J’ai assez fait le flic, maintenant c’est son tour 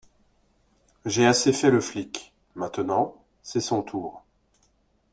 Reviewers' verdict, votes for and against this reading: accepted, 2, 0